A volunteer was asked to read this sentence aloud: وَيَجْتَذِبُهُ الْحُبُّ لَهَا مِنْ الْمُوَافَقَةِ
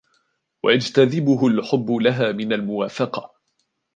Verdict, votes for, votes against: accepted, 2, 0